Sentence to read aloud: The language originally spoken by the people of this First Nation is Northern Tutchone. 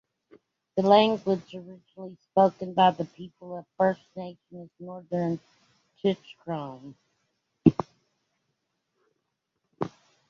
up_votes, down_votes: 1, 2